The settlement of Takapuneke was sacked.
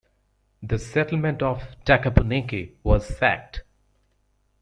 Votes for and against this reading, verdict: 2, 0, accepted